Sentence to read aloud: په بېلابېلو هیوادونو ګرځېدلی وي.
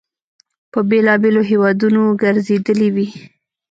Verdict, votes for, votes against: accepted, 2, 0